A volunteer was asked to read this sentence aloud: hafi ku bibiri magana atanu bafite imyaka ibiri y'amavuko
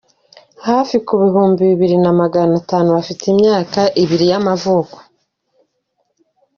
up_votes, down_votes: 0, 2